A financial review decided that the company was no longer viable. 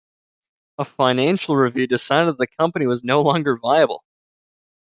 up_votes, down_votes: 1, 2